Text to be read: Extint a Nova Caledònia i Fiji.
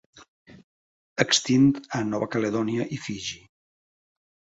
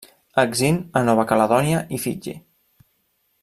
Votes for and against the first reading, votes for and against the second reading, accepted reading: 2, 0, 0, 2, first